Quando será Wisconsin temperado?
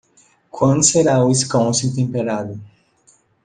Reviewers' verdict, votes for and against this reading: accepted, 2, 0